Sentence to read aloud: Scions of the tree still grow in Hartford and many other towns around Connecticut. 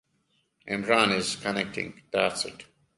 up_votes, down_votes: 0, 2